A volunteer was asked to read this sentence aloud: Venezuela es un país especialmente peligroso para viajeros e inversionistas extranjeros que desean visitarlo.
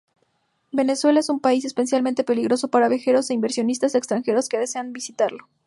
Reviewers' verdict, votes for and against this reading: accepted, 2, 0